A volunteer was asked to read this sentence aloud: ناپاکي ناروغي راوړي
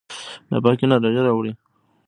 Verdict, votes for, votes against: rejected, 0, 2